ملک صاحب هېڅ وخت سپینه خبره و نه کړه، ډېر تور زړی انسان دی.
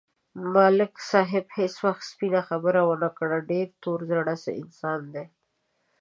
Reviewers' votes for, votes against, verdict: 1, 2, rejected